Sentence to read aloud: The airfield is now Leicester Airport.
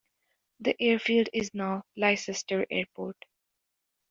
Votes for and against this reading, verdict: 1, 2, rejected